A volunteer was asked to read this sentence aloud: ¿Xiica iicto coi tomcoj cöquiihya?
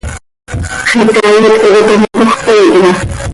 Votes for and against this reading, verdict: 1, 2, rejected